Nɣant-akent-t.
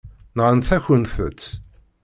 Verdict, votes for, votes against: accepted, 2, 0